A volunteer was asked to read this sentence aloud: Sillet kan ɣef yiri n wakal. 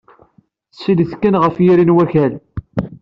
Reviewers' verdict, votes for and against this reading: accepted, 2, 0